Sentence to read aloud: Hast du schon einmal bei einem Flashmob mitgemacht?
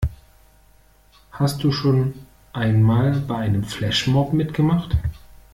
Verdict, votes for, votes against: rejected, 1, 2